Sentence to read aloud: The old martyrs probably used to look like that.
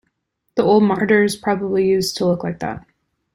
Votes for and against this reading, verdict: 2, 1, accepted